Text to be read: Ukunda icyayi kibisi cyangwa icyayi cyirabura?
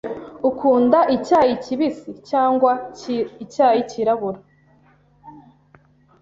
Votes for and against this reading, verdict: 1, 2, rejected